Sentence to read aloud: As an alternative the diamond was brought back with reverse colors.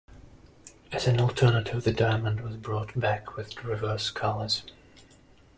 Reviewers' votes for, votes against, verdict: 1, 2, rejected